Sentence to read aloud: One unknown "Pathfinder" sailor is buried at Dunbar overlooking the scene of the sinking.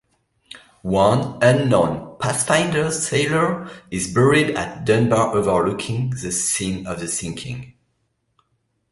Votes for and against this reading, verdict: 2, 0, accepted